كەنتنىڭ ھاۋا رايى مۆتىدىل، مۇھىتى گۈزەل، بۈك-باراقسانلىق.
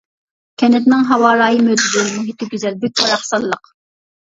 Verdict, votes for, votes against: rejected, 1, 2